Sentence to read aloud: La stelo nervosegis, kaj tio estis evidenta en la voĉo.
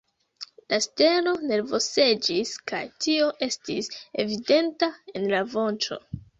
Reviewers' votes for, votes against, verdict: 0, 2, rejected